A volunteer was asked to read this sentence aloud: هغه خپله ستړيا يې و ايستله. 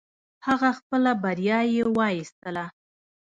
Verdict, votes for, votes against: rejected, 1, 2